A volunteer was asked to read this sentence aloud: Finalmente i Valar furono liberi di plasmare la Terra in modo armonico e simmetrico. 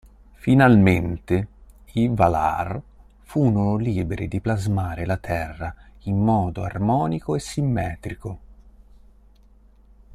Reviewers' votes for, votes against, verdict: 1, 2, rejected